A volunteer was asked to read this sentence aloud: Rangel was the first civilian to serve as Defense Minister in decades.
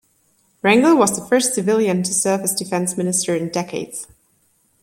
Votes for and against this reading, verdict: 2, 0, accepted